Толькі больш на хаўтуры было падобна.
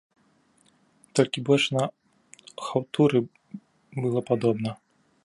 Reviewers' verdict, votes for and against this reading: rejected, 0, 2